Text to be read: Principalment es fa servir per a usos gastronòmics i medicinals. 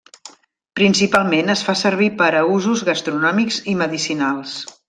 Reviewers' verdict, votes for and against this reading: accepted, 3, 0